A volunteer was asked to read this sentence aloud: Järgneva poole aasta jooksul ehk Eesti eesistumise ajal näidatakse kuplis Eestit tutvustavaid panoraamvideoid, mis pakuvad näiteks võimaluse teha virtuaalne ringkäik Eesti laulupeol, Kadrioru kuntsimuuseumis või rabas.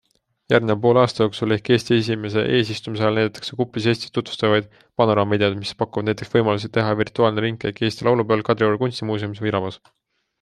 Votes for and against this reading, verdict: 2, 1, accepted